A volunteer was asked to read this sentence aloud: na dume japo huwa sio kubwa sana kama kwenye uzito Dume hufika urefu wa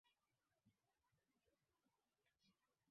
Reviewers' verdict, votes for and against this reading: rejected, 1, 6